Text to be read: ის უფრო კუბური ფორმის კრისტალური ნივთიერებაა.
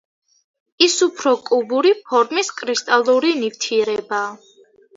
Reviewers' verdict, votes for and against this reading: accepted, 2, 0